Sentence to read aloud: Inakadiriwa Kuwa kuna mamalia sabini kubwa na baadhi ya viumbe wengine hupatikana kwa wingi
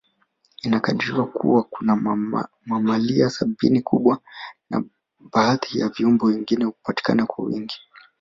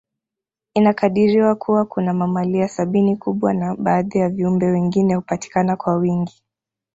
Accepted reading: first